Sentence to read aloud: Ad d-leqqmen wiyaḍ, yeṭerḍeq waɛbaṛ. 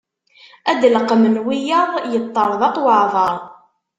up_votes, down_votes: 2, 0